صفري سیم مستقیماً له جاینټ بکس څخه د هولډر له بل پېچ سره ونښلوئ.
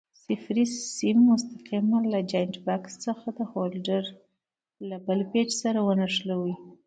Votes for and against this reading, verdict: 1, 2, rejected